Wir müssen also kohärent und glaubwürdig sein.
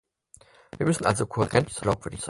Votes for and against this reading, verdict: 2, 4, rejected